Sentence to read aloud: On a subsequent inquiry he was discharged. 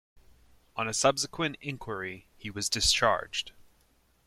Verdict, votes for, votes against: accepted, 2, 0